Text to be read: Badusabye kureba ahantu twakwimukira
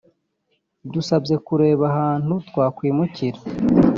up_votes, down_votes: 1, 2